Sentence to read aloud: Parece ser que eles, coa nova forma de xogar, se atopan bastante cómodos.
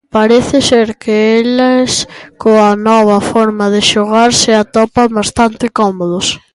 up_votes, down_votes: 1, 2